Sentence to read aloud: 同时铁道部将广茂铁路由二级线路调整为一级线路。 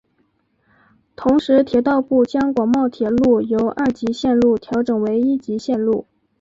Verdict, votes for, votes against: rejected, 2, 3